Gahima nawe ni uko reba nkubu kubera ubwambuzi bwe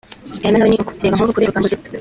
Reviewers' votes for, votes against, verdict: 0, 3, rejected